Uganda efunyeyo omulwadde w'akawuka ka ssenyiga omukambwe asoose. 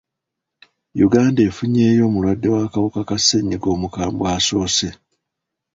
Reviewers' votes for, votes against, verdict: 2, 1, accepted